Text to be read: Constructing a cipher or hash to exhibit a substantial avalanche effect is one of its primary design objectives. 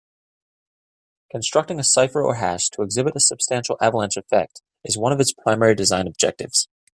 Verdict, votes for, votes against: accepted, 2, 0